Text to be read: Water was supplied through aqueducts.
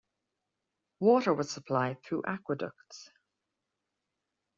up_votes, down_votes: 2, 0